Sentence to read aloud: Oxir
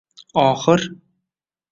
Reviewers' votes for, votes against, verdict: 1, 2, rejected